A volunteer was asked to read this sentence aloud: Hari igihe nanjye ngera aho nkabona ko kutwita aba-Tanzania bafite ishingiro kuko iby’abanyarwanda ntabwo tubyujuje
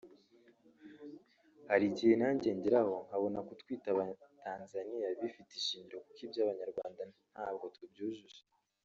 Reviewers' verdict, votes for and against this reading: rejected, 0, 2